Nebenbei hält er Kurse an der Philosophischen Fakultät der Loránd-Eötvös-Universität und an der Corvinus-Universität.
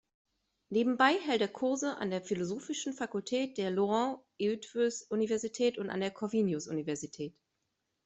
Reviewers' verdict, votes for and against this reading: accepted, 2, 0